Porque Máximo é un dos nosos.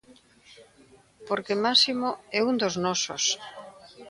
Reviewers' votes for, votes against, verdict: 1, 2, rejected